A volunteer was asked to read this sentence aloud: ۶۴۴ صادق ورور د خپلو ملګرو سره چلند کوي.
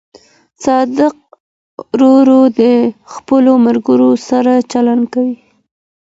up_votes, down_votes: 0, 2